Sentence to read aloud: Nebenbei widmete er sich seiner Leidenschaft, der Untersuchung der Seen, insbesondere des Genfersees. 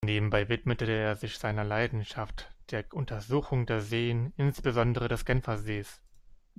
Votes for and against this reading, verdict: 2, 1, accepted